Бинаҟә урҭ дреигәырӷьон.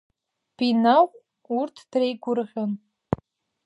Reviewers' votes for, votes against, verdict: 2, 0, accepted